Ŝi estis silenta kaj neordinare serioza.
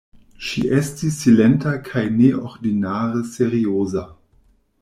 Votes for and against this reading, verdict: 2, 1, accepted